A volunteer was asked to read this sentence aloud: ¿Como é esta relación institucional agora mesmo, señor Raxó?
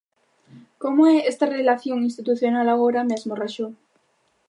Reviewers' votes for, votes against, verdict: 0, 2, rejected